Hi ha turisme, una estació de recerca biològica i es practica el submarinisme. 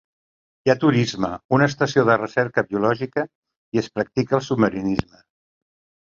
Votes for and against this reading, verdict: 2, 0, accepted